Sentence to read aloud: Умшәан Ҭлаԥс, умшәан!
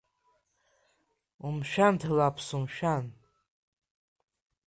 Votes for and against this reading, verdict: 2, 0, accepted